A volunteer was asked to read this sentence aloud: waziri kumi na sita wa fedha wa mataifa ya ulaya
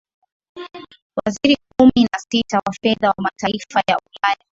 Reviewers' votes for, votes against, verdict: 3, 2, accepted